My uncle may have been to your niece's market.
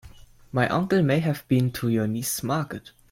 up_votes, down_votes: 0, 2